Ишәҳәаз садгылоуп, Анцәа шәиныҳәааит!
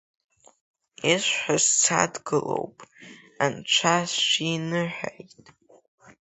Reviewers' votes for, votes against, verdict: 1, 2, rejected